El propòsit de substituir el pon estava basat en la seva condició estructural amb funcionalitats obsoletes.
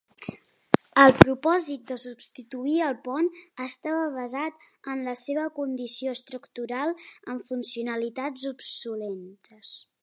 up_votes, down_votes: 0, 2